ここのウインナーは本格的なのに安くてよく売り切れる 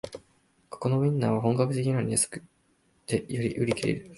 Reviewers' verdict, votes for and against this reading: accepted, 2, 0